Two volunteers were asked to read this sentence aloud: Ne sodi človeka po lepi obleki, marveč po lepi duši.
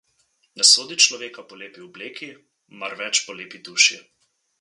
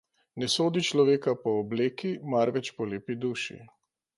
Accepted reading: first